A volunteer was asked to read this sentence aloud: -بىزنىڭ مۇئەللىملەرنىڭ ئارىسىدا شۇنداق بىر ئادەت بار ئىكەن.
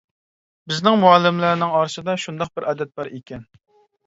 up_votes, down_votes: 2, 0